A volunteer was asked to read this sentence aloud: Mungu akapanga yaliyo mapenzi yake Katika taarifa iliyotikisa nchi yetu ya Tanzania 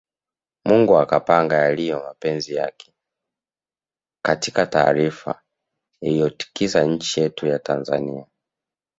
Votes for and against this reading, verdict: 2, 0, accepted